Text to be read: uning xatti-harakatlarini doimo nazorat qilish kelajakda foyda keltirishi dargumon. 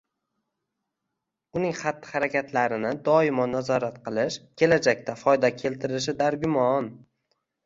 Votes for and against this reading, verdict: 1, 2, rejected